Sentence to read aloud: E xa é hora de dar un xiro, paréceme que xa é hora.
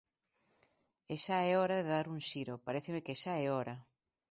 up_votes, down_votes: 2, 0